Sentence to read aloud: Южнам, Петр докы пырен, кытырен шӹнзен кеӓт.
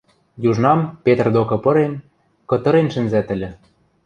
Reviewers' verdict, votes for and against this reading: rejected, 0, 2